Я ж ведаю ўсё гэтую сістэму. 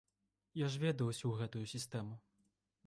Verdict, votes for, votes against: rejected, 1, 2